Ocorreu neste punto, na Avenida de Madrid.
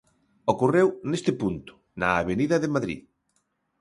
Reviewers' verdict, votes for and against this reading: accepted, 2, 0